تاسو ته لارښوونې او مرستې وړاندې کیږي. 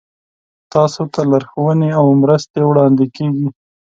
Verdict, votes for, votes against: accepted, 2, 0